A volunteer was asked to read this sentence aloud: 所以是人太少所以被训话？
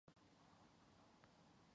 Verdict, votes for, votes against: rejected, 0, 2